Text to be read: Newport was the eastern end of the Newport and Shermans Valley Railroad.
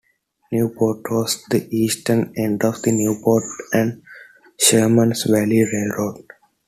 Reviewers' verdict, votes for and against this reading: accepted, 2, 0